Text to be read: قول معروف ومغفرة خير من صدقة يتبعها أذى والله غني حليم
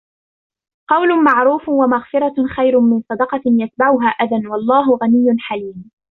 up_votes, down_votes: 0, 2